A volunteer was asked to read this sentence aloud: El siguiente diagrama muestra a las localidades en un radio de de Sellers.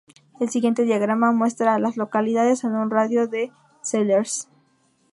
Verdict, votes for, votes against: rejected, 0, 2